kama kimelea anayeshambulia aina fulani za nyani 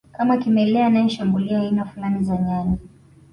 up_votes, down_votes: 2, 0